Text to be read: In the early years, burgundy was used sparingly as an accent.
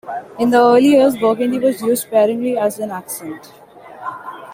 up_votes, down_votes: 2, 1